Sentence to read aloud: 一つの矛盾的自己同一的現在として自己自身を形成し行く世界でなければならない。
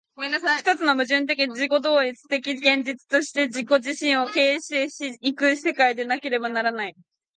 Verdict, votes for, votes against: rejected, 1, 2